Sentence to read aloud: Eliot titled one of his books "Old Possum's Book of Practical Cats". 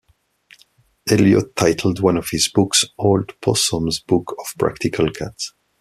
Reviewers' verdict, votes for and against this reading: accepted, 2, 0